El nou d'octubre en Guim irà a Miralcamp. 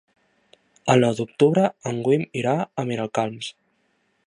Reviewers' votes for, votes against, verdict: 0, 2, rejected